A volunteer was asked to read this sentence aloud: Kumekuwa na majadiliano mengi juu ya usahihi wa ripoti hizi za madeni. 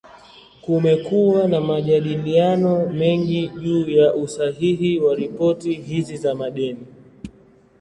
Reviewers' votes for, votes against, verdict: 2, 0, accepted